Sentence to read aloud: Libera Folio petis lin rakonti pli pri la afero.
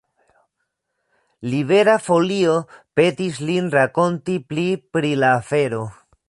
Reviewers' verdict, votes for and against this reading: accepted, 2, 0